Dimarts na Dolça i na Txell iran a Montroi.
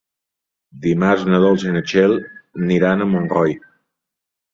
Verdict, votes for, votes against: rejected, 1, 2